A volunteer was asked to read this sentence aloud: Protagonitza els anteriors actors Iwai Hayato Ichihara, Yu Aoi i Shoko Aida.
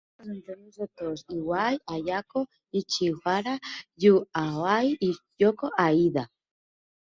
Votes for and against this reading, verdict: 2, 0, accepted